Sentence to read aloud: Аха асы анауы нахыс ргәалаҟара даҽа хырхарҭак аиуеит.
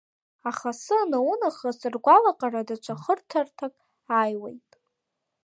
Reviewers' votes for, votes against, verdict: 0, 3, rejected